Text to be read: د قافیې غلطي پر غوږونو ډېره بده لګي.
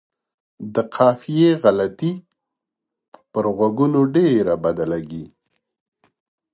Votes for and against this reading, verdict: 2, 0, accepted